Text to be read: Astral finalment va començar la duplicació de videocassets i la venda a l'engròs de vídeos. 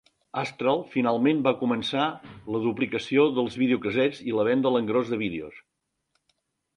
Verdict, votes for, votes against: rejected, 1, 2